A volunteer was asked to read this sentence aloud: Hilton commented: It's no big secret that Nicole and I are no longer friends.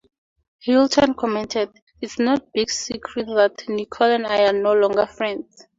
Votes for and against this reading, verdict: 4, 0, accepted